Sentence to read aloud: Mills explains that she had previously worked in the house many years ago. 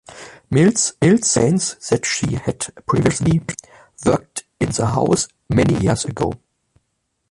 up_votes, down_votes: 0, 2